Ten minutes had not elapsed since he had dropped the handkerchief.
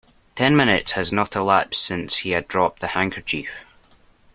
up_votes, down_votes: 0, 2